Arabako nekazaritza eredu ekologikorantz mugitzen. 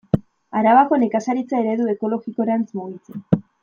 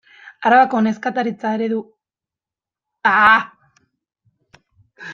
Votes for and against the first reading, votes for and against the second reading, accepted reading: 2, 1, 0, 2, first